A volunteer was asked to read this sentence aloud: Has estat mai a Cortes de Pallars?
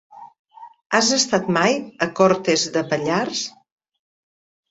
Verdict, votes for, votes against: accepted, 3, 0